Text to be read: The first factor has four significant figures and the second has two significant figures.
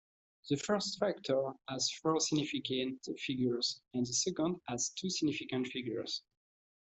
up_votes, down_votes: 2, 0